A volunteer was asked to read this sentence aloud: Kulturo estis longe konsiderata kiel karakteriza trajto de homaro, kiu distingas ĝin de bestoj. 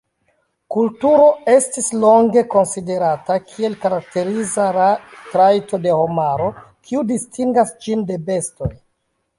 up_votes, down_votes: 0, 2